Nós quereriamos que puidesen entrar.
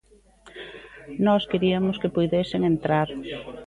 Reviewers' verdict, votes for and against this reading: rejected, 0, 2